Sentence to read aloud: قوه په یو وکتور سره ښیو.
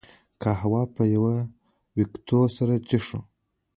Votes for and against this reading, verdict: 0, 2, rejected